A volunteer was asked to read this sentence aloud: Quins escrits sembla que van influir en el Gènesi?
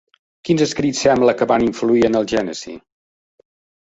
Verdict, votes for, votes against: rejected, 1, 2